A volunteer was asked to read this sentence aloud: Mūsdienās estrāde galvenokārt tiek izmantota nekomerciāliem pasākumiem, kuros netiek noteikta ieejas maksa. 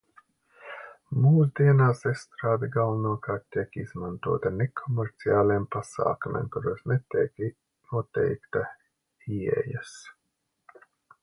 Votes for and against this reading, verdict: 0, 2, rejected